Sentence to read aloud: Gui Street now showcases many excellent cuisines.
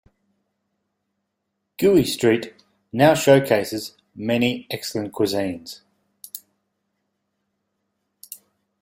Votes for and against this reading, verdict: 2, 0, accepted